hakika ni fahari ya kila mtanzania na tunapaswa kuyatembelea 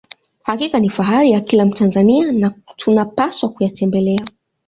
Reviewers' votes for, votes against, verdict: 2, 0, accepted